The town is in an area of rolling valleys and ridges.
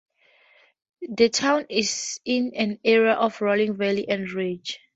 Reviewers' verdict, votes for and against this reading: accepted, 2, 0